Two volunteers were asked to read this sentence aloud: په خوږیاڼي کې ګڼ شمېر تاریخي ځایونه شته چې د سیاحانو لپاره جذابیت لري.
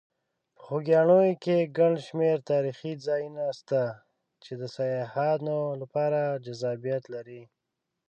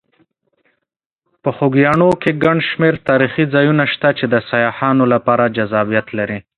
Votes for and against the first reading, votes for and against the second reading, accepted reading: 1, 2, 2, 0, second